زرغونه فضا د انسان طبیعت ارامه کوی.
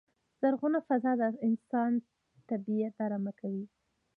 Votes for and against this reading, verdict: 2, 1, accepted